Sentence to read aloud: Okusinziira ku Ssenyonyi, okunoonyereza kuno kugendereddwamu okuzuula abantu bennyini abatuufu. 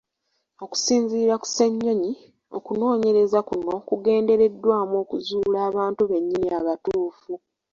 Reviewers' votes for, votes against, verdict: 1, 2, rejected